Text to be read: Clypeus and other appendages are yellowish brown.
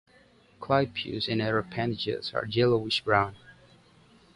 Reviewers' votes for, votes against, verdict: 2, 0, accepted